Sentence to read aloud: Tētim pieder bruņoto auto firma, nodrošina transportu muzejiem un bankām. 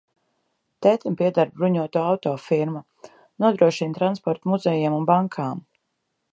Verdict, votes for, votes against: accepted, 2, 0